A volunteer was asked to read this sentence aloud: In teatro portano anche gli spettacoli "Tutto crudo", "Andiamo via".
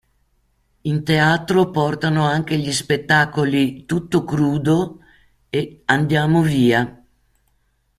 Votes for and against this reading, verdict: 1, 2, rejected